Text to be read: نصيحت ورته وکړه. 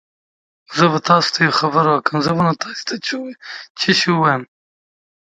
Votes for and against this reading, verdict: 0, 4, rejected